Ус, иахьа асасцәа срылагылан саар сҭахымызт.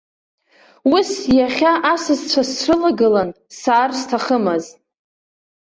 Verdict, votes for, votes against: accepted, 2, 0